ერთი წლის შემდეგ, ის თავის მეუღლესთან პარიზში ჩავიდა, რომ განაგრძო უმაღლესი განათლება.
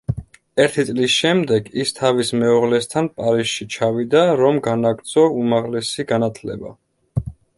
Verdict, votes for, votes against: accepted, 2, 0